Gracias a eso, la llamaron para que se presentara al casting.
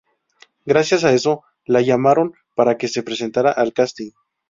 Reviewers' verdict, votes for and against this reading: accepted, 2, 0